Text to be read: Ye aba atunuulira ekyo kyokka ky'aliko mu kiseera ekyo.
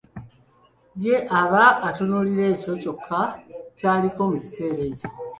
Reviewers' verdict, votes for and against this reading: accepted, 2, 0